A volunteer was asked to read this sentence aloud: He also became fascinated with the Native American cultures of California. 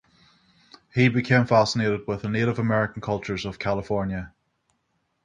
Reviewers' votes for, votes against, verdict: 0, 3, rejected